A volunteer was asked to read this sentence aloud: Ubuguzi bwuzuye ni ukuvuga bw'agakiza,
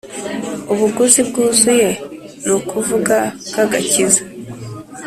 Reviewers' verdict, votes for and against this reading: accepted, 3, 0